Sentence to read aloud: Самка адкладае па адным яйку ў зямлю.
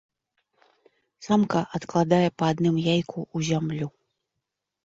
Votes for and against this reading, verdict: 2, 1, accepted